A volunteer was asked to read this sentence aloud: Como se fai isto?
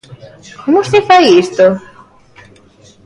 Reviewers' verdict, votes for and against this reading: accepted, 2, 0